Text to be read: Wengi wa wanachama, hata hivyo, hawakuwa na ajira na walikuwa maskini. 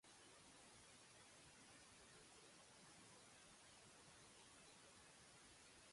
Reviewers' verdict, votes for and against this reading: rejected, 0, 2